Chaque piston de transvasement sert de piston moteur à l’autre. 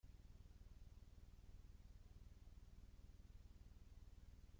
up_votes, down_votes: 0, 2